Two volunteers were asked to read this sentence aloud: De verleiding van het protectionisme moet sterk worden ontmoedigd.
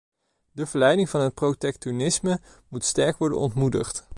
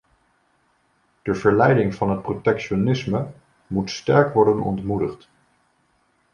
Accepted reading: second